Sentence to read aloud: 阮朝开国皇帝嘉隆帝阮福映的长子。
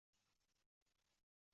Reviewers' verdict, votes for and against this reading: rejected, 0, 4